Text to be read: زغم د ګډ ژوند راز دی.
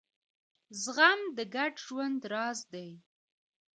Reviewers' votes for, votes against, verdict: 0, 2, rejected